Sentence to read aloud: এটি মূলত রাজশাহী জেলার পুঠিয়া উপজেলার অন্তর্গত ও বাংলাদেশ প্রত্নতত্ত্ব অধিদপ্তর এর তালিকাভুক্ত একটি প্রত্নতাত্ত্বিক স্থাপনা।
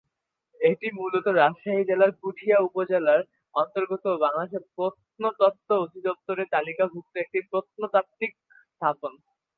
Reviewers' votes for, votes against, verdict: 1, 9, rejected